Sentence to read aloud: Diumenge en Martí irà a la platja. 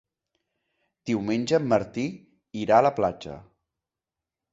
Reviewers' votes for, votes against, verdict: 2, 0, accepted